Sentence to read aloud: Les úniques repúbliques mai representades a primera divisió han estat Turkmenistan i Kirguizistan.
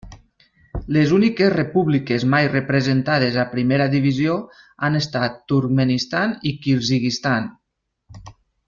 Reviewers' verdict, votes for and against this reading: rejected, 1, 2